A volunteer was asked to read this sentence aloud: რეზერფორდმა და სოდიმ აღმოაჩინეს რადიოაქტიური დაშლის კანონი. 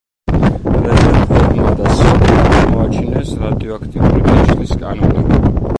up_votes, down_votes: 1, 2